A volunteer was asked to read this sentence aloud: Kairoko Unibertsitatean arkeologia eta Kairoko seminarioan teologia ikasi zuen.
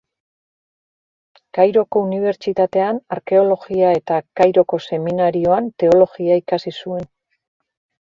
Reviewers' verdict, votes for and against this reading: accepted, 2, 0